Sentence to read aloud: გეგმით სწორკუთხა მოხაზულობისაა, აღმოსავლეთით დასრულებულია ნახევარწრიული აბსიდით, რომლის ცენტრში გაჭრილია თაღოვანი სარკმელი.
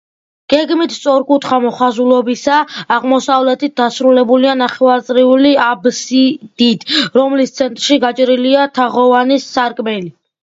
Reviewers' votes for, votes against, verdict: 2, 0, accepted